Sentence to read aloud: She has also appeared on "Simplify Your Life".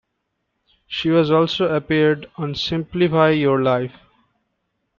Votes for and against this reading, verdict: 1, 2, rejected